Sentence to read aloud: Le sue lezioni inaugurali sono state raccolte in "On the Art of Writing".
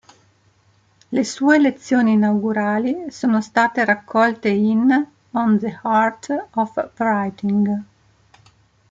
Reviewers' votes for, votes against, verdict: 2, 0, accepted